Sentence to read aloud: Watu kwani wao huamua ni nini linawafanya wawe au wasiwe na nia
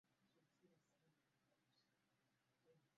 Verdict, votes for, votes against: rejected, 0, 2